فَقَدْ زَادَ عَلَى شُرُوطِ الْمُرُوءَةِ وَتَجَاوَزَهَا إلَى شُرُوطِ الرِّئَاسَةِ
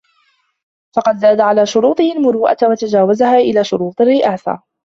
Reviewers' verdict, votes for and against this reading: rejected, 1, 2